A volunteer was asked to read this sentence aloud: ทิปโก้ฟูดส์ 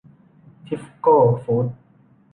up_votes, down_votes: 1, 2